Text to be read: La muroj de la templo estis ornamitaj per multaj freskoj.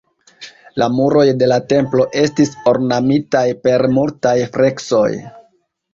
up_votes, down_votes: 2, 1